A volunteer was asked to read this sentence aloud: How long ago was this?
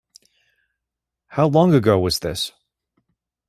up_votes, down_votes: 2, 0